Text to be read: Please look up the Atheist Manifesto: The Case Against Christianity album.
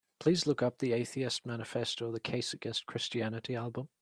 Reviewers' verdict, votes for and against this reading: accepted, 2, 0